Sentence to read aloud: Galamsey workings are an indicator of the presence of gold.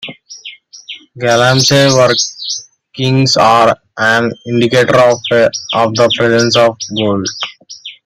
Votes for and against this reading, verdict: 0, 2, rejected